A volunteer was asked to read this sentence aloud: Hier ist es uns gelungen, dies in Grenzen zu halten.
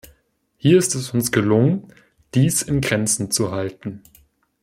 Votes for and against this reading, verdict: 2, 0, accepted